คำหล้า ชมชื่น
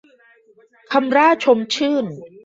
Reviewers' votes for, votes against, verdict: 0, 2, rejected